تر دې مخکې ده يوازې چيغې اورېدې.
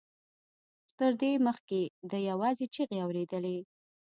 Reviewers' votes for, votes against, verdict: 1, 2, rejected